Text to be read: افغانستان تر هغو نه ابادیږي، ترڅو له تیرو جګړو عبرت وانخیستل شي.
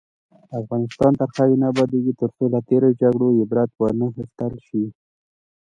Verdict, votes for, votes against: accepted, 2, 1